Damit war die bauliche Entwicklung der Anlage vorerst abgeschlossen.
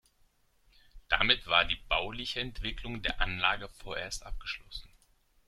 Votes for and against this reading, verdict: 1, 2, rejected